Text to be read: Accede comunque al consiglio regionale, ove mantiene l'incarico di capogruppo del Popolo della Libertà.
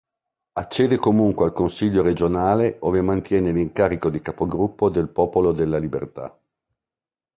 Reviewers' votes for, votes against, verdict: 2, 0, accepted